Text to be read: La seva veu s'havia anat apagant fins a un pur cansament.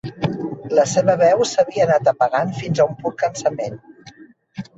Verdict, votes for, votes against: accepted, 2, 1